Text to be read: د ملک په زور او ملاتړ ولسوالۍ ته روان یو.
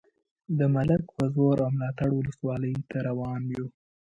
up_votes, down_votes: 1, 2